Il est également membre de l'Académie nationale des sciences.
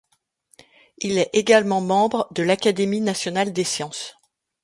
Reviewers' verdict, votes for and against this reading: accepted, 2, 0